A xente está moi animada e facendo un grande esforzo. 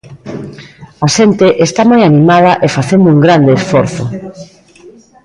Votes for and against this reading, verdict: 1, 2, rejected